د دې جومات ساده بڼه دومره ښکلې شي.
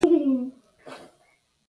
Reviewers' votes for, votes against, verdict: 0, 2, rejected